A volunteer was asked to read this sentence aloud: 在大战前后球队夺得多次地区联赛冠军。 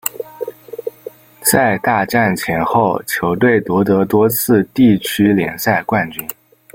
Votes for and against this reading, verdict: 0, 2, rejected